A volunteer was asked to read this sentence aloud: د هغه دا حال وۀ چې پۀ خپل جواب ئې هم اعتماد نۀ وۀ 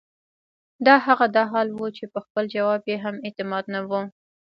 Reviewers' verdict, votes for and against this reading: rejected, 0, 2